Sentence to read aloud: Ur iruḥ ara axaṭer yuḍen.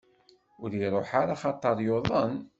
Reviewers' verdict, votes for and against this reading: accepted, 2, 0